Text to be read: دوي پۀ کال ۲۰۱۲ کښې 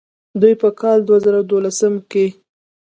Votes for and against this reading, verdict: 0, 2, rejected